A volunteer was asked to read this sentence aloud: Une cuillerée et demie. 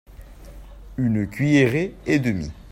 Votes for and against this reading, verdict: 2, 0, accepted